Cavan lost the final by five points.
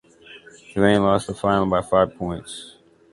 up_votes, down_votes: 2, 0